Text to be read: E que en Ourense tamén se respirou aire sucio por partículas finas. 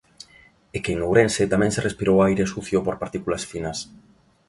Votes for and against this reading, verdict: 2, 0, accepted